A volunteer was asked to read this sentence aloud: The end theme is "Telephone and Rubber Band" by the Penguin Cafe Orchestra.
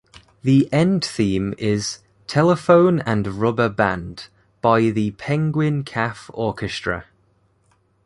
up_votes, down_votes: 2, 0